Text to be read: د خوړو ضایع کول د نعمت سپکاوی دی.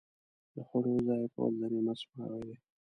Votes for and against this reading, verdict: 1, 2, rejected